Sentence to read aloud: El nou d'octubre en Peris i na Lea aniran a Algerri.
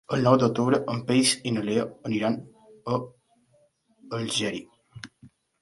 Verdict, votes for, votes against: rejected, 0, 2